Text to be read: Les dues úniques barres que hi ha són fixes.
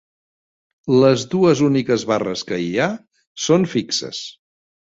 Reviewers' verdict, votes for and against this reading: accepted, 3, 0